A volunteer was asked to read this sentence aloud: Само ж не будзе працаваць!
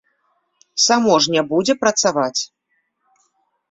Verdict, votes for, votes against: accepted, 2, 0